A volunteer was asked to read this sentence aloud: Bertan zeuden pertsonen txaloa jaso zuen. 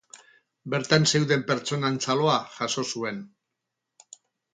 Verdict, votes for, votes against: rejected, 2, 2